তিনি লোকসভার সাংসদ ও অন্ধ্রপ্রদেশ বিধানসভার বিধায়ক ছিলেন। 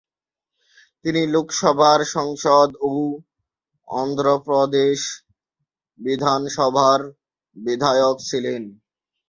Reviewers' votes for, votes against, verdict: 2, 3, rejected